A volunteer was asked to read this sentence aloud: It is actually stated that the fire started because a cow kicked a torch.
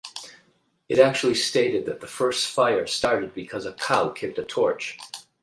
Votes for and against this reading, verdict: 0, 4, rejected